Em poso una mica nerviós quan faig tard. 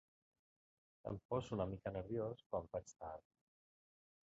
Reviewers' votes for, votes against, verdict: 0, 2, rejected